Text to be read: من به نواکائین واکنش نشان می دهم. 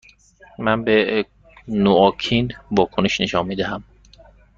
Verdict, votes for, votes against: rejected, 1, 2